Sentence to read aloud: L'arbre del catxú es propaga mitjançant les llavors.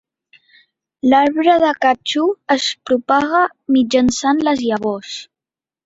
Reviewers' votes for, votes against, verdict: 2, 1, accepted